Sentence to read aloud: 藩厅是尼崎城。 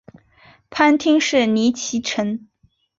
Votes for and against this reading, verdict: 2, 1, accepted